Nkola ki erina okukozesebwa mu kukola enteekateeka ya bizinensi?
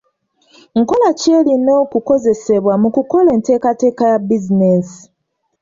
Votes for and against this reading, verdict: 2, 0, accepted